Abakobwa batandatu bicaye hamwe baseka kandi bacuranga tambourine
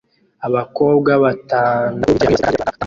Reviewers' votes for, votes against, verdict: 0, 2, rejected